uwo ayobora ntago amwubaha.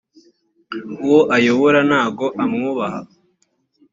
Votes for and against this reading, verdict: 2, 0, accepted